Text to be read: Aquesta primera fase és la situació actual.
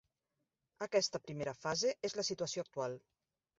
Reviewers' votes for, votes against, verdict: 0, 2, rejected